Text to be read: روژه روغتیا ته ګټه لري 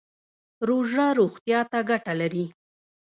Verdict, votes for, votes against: rejected, 0, 2